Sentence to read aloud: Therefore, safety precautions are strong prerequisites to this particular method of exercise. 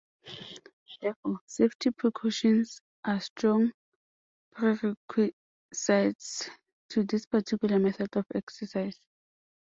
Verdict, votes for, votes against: rejected, 0, 2